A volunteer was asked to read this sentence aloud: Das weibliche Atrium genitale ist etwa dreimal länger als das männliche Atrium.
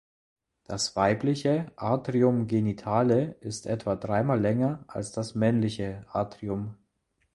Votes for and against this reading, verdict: 2, 0, accepted